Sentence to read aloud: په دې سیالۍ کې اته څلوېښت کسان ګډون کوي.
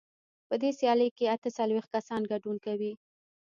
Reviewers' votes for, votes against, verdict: 2, 1, accepted